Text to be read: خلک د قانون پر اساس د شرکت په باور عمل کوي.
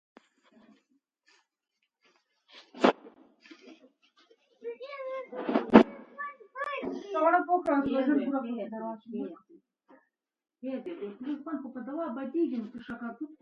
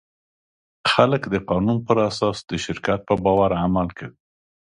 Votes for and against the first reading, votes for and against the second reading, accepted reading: 0, 2, 2, 0, second